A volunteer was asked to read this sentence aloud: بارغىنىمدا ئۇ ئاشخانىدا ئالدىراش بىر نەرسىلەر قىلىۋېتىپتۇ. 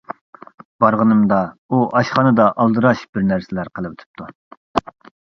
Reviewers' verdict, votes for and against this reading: accepted, 2, 0